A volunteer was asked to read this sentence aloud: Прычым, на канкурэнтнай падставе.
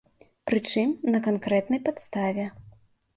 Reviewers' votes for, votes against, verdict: 0, 2, rejected